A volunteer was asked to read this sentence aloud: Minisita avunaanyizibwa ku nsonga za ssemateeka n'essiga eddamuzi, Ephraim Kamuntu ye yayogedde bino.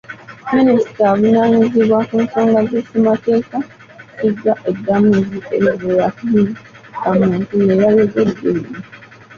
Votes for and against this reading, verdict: 0, 2, rejected